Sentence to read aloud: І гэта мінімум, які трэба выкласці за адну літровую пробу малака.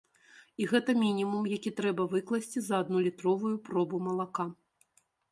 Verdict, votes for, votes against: accepted, 2, 0